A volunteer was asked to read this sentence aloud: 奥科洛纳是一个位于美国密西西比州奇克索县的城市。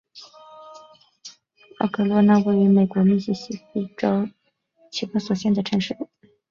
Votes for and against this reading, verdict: 2, 0, accepted